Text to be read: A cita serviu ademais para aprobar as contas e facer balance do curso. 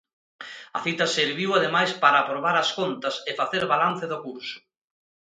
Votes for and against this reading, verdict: 2, 0, accepted